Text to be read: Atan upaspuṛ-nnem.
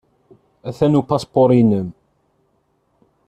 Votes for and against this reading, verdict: 2, 1, accepted